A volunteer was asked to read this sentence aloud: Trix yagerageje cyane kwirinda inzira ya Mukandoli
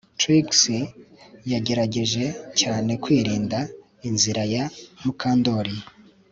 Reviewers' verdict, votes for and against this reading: accepted, 3, 0